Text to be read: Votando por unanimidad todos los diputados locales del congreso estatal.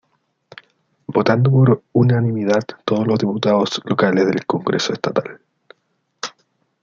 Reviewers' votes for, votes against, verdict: 1, 2, rejected